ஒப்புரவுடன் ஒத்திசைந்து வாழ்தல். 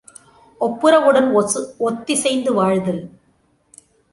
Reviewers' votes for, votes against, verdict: 2, 0, accepted